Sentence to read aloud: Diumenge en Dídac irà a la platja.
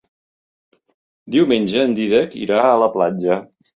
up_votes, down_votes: 3, 0